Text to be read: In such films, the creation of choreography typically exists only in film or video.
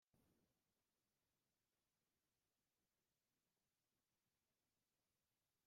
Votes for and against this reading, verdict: 0, 2, rejected